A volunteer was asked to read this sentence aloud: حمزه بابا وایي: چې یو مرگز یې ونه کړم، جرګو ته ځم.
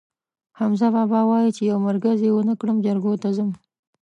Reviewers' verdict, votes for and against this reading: accepted, 2, 0